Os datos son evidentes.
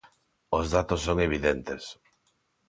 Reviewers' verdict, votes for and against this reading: accepted, 2, 0